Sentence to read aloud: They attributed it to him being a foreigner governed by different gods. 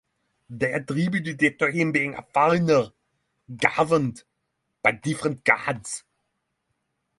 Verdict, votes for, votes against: accepted, 3, 0